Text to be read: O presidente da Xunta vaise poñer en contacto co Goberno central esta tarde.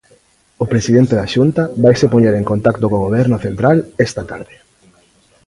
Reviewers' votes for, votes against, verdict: 2, 0, accepted